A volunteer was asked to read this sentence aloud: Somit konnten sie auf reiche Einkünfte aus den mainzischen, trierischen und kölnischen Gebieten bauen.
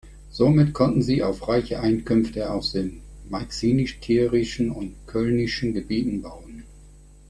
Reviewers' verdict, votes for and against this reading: rejected, 0, 4